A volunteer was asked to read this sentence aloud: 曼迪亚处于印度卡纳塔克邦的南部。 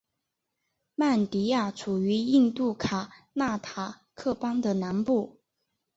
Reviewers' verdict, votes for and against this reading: accepted, 3, 0